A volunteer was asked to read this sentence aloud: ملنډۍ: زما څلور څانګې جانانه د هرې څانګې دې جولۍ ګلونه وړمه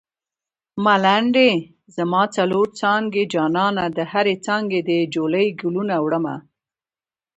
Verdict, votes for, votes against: rejected, 0, 2